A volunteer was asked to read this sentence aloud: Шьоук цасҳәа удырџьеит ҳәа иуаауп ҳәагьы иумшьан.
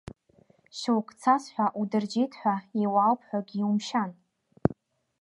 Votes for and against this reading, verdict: 0, 2, rejected